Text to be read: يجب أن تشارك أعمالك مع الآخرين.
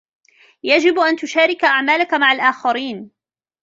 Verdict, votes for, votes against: rejected, 0, 2